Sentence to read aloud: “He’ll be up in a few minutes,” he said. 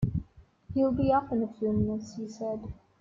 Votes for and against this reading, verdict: 2, 1, accepted